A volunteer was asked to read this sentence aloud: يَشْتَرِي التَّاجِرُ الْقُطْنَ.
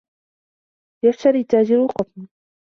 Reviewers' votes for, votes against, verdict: 2, 0, accepted